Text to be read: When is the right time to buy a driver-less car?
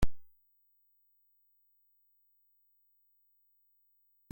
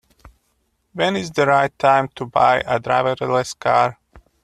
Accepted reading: second